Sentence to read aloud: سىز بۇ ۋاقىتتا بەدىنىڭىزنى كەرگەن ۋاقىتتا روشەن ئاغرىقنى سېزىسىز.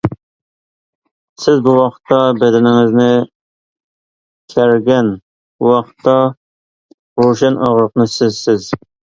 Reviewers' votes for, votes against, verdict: 1, 2, rejected